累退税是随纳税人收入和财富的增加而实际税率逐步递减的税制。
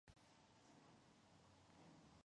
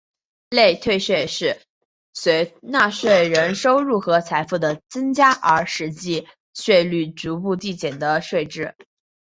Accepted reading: second